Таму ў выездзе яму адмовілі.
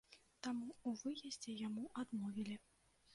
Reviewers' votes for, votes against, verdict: 1, 2, rejected